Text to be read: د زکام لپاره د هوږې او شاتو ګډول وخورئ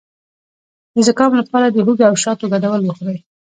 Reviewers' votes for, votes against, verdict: 2, 0, accepted